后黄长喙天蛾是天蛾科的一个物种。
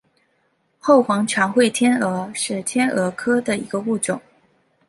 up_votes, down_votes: 2, 0